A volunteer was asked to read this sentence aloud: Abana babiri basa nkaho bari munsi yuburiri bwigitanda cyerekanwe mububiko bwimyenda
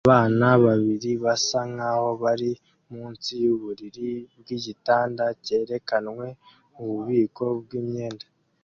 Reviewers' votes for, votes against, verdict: 2, 0, accepted